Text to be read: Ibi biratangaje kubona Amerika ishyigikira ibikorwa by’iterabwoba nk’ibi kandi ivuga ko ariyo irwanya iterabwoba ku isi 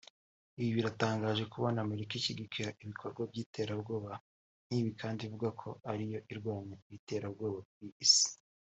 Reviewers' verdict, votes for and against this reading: accepted, 2, 0